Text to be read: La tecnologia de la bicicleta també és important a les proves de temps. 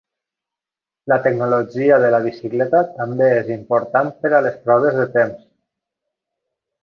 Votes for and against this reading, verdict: 0, 2, rejected